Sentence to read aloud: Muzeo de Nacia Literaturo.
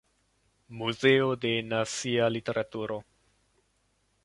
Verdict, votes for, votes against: rejected, 0, 2